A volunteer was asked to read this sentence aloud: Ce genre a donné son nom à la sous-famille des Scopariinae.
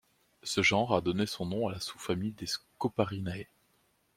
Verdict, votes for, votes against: accepted, 2, 0